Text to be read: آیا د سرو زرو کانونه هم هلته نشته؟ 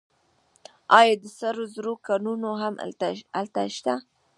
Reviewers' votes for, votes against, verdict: 0, 2, rejected